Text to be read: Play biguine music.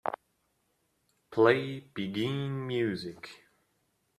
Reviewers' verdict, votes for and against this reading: accepted, 2, 0